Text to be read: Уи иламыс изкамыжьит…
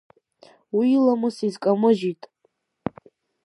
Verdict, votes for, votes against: accepted, 2, 0